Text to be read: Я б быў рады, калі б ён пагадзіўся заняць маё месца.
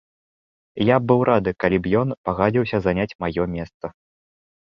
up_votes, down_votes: 0, 2